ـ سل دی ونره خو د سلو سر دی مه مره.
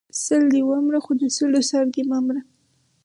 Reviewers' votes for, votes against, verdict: 4, 0, accepted